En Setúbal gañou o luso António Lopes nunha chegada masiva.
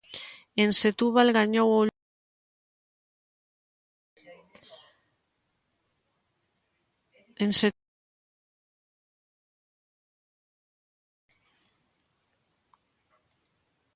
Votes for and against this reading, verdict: 0, 2, rejected